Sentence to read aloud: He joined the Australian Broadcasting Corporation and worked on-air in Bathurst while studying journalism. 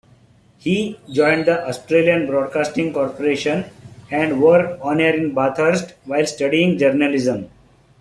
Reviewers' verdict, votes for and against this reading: accepted, 2, 0